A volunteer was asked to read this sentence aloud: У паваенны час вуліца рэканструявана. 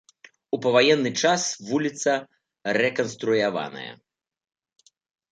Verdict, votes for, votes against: rejected, 0, 2